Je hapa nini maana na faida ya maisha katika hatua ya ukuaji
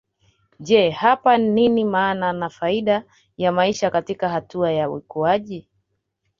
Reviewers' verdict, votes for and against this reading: accepted, 2, 1